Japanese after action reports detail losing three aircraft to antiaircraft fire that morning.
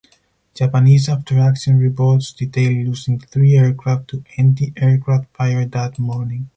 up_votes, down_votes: 4, 0